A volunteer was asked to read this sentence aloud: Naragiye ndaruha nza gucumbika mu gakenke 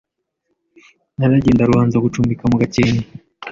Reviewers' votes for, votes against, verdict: 2, 1, accepted